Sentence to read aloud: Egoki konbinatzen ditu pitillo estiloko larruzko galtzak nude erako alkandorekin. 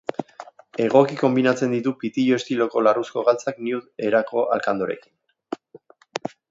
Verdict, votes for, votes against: accepted, 2, 0